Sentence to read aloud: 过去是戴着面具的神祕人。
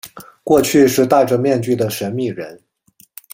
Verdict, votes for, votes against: accepted, 2, 0